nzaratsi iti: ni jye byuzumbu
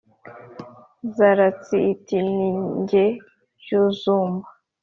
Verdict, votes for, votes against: accepted, 3, 0